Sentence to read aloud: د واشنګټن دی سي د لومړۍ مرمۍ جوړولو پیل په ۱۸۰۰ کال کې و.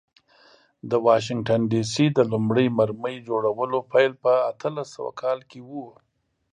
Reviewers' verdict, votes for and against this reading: rejected, 0, 2